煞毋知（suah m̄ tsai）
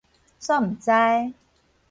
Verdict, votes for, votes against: accepted, 4, 0